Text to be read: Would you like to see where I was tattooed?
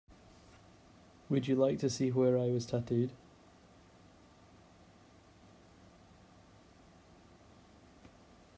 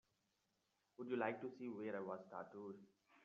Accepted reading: first